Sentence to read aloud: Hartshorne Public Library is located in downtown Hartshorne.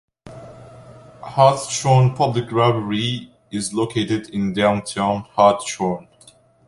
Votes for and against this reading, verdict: 2, 0, accepted